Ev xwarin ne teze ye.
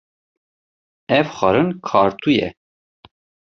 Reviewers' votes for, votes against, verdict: 0, 2, rejected